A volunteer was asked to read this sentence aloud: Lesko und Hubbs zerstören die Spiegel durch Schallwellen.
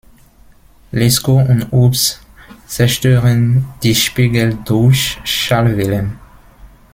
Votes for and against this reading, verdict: 1, 2, rejected